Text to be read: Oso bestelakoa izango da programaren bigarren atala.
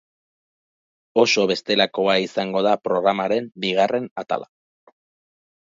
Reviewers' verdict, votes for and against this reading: accepted, 2, 0